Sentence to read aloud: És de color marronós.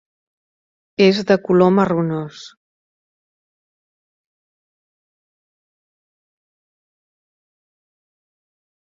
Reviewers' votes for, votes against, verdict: 2, 1, accepted